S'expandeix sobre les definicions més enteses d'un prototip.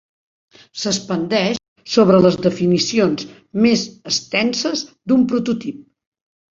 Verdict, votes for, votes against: rejected, 2, 4